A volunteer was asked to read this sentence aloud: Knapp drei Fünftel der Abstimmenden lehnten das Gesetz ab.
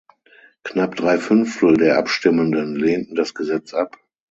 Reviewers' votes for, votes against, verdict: 6, 0, accepted